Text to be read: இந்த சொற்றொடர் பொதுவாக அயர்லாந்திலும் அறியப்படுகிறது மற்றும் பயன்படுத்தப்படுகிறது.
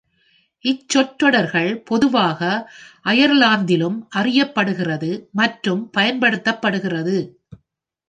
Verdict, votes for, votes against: rejected, 1, 2